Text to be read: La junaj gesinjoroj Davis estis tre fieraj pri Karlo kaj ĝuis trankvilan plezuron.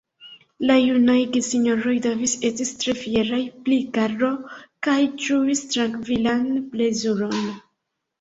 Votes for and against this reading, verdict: 2, 0, accepted